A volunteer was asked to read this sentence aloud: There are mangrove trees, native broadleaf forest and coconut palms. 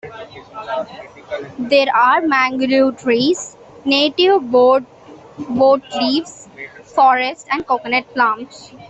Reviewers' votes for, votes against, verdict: 0, 2, rejected